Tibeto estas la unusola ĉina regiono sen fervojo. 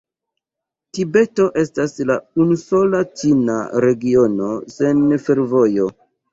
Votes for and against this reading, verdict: 2, 1, accepted